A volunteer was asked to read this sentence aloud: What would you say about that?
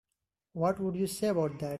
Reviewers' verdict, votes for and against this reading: accepted, 3, 0